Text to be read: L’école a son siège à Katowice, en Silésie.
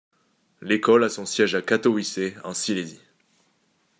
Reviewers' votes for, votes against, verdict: 2, 0, accepted